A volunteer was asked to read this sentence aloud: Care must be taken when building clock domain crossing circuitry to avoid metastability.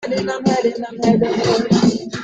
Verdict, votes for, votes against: rejected, 0, 2